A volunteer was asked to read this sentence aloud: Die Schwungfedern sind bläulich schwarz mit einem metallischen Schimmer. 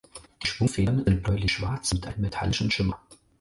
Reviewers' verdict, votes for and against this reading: rejected, 0, 4